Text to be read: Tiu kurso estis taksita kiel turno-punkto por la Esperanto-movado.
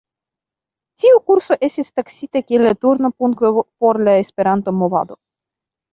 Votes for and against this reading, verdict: 2, 3, rejected